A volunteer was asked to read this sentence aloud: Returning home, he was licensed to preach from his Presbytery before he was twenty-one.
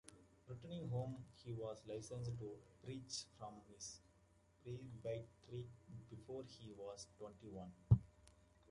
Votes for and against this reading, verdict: 0, 2, rejected